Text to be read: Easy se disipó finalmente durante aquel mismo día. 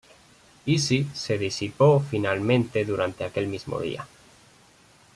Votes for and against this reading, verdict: 2, 0, accepted